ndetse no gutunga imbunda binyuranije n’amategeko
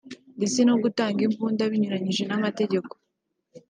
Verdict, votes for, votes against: rejected, 0, 2